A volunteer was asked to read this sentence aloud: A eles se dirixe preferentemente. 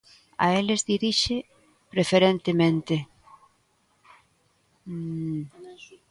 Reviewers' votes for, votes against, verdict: 0, 2, rejected